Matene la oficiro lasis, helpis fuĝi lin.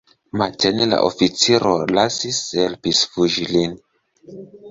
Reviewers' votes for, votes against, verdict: 0, 2, rejected